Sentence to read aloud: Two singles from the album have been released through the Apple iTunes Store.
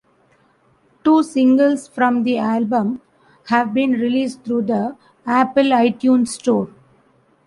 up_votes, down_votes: 1, 2